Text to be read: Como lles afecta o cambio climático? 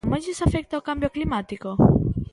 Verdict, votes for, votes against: rejected, 1, 2